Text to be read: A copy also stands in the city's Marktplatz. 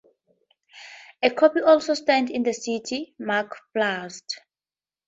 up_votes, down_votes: 0, 2